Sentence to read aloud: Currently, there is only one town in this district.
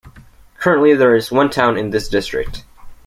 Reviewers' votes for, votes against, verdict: 0, 2, rejected